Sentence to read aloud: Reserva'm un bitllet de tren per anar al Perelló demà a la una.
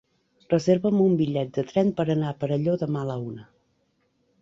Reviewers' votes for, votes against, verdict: 2, 3, rejected